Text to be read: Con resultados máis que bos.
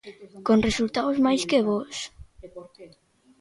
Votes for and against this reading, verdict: 1, 2, rejected